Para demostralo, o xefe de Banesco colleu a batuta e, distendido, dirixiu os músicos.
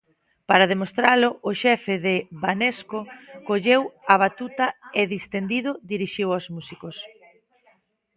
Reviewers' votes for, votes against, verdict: 1, 2, rejected